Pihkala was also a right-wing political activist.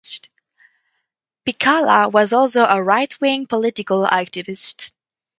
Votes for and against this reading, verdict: 4, 0, accepted